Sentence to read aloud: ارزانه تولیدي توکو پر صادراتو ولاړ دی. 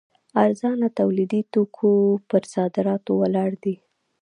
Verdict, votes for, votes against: rejected, 0, 2